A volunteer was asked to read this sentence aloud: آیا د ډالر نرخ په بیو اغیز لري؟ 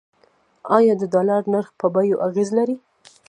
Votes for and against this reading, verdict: 1, 2, rejected